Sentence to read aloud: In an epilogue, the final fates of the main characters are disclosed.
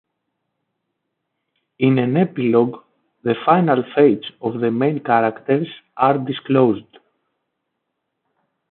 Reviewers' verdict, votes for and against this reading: accepted, 3, 1